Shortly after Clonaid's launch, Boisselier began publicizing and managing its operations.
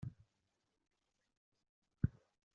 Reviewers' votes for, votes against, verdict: 0, 2, rejected